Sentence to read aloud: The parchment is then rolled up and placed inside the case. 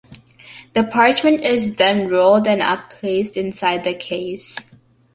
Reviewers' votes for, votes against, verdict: 2, 1, accepted